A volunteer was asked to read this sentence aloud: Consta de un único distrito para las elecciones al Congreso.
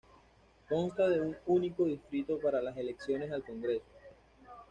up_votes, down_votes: 2, 1